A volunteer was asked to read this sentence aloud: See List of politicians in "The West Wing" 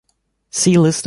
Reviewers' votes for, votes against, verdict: 1, 2, rejected